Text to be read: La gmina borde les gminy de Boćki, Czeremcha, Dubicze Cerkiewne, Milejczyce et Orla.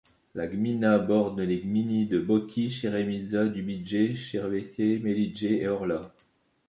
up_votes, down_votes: 1, 2